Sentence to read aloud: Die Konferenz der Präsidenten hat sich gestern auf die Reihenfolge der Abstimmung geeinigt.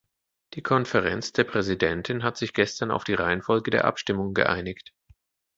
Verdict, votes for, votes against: accepted, 2, 0